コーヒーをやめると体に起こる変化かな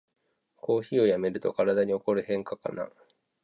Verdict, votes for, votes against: accepted, 2, 0